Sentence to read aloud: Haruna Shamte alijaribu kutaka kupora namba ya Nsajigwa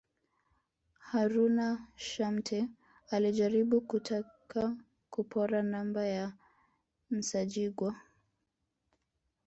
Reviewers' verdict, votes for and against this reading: rejected, 1, 2